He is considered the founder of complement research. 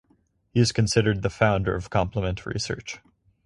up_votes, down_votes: 4, 0